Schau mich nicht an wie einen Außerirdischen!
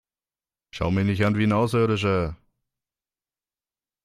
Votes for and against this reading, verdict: 0, 2, rejected